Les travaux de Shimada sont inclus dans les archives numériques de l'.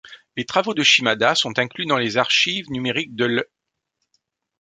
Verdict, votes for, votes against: accepted, 2, 0